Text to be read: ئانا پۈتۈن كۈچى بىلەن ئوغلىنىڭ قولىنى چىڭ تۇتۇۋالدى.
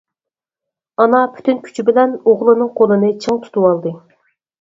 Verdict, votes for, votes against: accepted, 4, 0